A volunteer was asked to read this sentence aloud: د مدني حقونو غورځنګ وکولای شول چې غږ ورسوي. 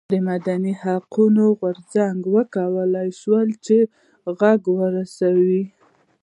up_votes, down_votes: 1, 2